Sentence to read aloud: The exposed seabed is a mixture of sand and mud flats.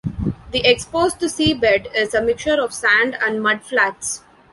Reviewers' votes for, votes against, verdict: 1, 2, rejected